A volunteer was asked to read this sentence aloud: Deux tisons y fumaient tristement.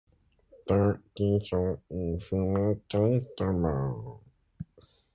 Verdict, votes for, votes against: rejected, 0, 2